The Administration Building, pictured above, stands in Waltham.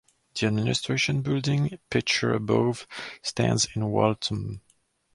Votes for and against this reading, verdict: 2, 2, rejected